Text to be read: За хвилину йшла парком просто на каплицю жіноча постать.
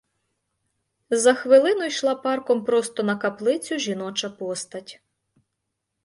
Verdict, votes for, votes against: accepted, 2, 0